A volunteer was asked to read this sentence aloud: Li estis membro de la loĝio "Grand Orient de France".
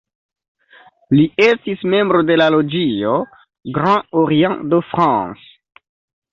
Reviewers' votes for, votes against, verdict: 1, 2, rejected